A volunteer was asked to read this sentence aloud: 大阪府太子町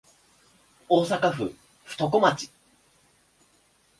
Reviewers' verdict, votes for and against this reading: rejected, 1, 2